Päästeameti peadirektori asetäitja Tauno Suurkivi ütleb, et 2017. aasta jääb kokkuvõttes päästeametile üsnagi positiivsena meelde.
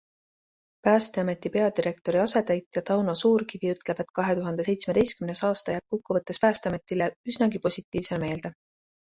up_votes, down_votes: 0, 2